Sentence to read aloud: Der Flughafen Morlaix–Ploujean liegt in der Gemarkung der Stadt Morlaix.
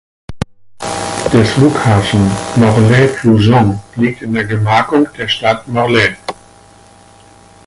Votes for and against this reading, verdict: 2, 4, rejected